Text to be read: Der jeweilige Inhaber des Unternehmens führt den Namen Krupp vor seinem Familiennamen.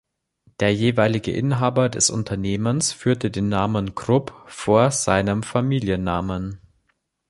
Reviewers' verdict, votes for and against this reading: rejected, 0, 2